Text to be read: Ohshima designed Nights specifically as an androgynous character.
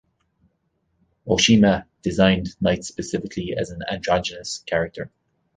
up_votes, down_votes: 0, 2